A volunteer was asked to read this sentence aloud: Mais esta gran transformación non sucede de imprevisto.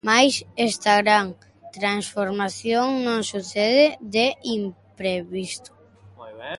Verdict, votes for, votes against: rejected, 0, 2